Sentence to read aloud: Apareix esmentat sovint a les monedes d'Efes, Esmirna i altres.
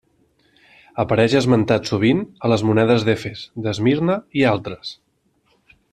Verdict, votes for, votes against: rejected, 1, 2